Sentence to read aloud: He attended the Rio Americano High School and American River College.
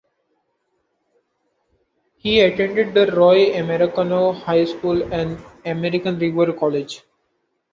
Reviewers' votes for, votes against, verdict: 0, 2, rejected